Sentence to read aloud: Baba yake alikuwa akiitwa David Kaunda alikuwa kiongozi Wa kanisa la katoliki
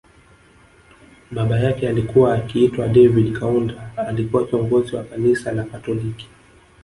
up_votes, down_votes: 9, 0